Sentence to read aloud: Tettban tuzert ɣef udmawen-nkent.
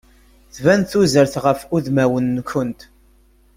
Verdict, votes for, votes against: rejected, 1, 2